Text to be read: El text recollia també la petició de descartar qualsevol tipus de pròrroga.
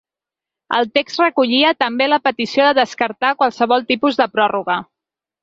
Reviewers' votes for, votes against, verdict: 3, 0, accepted